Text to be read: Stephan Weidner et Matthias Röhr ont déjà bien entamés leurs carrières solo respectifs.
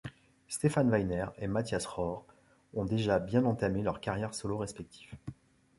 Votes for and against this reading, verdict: 2, 0, accepted